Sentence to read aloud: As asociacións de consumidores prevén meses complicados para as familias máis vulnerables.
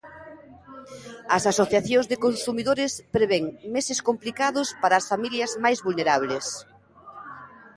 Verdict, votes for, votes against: rejected, 1, 2